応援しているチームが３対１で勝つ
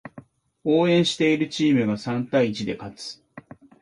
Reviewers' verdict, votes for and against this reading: rejected, 0, 2